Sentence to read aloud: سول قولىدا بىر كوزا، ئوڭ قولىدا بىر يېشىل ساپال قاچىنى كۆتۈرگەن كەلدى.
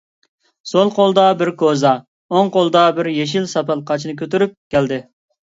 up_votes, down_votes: 1, 3